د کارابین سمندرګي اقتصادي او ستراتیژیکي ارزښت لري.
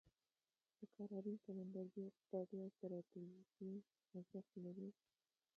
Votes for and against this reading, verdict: 1, 2, rejected